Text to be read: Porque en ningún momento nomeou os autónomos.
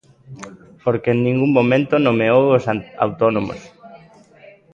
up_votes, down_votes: 0, 2